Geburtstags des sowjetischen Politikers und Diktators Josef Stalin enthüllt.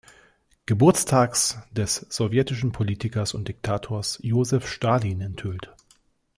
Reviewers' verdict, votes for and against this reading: accepted, 2, 0